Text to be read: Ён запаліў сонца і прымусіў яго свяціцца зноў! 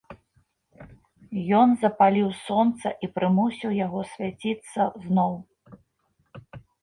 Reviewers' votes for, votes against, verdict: 2, 0, accepted